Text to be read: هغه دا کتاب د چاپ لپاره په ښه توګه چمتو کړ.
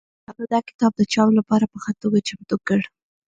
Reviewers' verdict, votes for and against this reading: rejected, 1, 2